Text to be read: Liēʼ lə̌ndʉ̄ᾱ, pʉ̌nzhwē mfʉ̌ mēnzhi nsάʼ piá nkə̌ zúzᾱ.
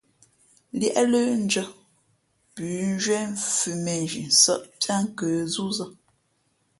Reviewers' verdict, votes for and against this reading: accepted, 2, 0